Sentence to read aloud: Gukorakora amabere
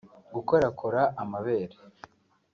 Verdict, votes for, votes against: accepted, 2, 0